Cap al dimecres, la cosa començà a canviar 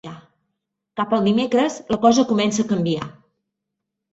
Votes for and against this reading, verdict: 1, 2, rejected